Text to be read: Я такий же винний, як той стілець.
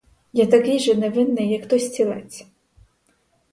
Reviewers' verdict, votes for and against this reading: rejected, 2, 4